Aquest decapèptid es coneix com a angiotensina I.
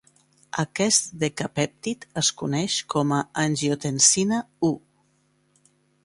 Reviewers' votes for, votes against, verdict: 2, 0, accepted